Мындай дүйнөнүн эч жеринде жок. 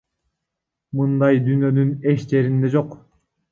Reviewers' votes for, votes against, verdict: 1, 3, rejected